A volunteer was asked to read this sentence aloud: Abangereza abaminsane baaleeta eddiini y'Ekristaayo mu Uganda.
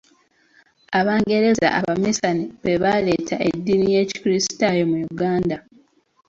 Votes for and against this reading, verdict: 1, 2, rejected